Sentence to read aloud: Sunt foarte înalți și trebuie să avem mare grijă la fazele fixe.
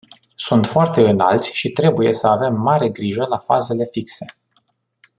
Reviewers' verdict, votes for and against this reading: accepted, 2, 0